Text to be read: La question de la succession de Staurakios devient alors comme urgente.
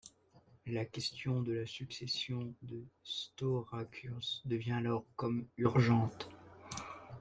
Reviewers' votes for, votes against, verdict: 2, 0, accepted